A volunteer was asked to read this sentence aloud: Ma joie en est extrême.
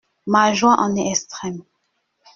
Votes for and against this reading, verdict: 2, 0, accepted